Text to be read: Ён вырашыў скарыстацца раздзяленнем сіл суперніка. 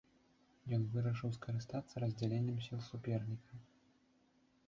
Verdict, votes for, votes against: rejected, 1, 2